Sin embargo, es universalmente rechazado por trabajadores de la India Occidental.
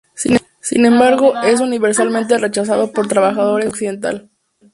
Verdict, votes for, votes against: rejected, 0, 2